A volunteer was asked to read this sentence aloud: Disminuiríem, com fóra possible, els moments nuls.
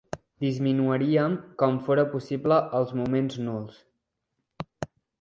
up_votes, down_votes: 1, 2